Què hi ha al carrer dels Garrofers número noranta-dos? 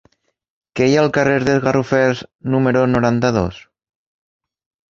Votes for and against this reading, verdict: 3, 1, accepted